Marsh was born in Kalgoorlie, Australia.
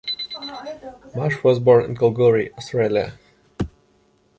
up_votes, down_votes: 0, 2